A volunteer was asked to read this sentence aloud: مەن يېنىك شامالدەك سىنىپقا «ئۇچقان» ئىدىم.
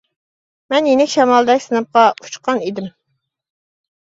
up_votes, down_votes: 2, 0